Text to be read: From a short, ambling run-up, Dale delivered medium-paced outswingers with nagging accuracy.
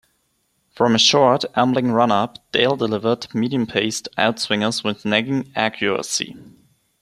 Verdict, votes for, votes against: accepted, 2, 1